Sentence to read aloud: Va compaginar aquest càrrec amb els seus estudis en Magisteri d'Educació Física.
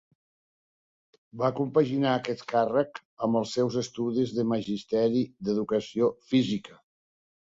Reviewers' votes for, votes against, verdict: 2, 1, accepted